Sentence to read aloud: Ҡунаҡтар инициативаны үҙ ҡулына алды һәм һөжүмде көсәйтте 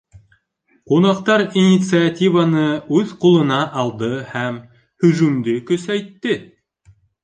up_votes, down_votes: 2, 0